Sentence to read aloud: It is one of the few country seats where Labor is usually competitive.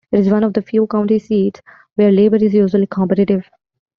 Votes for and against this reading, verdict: 0, 2, rejected